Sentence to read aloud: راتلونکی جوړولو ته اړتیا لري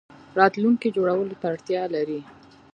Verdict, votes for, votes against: accepted, 2, 0